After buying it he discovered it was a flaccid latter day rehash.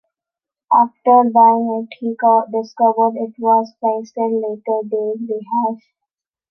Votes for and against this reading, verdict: 0, 2, rejected